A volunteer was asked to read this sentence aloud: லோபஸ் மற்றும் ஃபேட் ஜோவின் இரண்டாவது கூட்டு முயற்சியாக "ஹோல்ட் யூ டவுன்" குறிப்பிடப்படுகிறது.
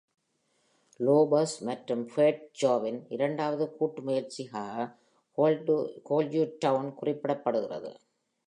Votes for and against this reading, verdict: 2, 1, accepted